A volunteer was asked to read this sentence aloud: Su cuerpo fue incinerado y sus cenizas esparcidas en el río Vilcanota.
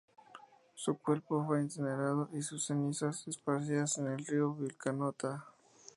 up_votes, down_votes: 4, 0